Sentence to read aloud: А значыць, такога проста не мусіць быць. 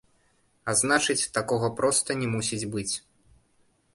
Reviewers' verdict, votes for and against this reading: rejected, 1, 2